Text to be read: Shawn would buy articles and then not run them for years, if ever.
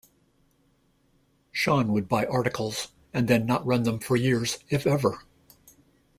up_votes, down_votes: 2, 0